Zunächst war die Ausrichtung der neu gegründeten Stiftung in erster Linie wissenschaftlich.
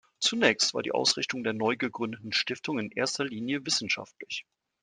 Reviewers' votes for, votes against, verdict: 2, 0, accepted